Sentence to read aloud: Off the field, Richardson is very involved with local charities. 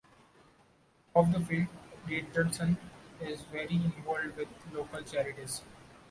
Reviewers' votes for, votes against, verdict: 2, 0, accepted